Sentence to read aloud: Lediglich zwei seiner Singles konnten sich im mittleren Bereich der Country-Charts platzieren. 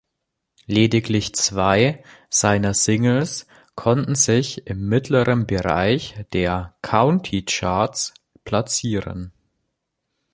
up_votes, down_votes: 0, 2